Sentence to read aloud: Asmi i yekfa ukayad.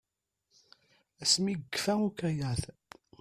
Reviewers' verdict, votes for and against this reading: rejected, 0, 2